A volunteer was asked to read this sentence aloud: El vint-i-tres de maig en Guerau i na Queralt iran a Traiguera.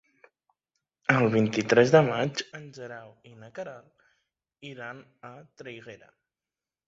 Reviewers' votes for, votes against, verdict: 0, 2, rejected